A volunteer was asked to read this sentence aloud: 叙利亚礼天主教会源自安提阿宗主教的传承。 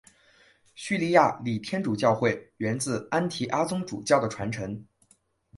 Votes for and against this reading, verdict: 2, 0, accepted